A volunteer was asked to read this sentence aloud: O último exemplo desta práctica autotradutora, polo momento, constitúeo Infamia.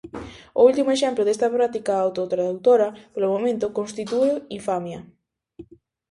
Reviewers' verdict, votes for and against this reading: rejected, 0, 2